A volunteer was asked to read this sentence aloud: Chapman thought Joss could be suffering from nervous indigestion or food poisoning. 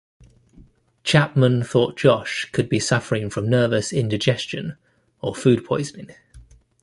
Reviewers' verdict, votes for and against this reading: rejected, 0, 2